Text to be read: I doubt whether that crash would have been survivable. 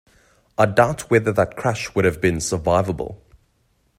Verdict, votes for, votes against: accepted, 2, 0